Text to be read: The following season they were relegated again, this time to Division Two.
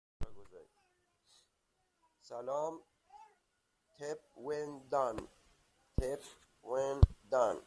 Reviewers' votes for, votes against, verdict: 0, 2, rejected